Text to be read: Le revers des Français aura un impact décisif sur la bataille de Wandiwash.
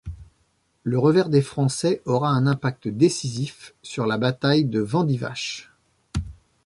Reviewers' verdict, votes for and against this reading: rejected, 0, 2